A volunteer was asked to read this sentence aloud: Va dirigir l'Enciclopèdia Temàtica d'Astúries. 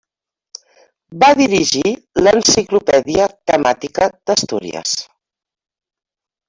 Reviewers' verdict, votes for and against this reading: rejected, 0, 2